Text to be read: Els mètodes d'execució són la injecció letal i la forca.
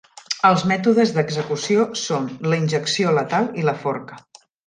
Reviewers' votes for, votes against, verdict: 3, 0, accepted